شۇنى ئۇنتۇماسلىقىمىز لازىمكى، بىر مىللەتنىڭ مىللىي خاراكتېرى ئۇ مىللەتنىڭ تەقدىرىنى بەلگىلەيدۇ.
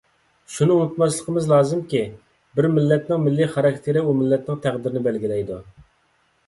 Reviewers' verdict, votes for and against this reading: accepted, 2, 0